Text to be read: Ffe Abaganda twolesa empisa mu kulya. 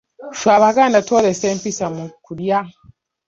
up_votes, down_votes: 0, 2